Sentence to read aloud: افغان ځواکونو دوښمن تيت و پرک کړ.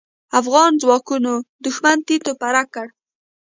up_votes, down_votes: 0, 2